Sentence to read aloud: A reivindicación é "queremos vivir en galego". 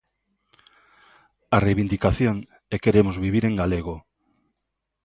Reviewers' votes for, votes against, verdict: 2, 0, accepted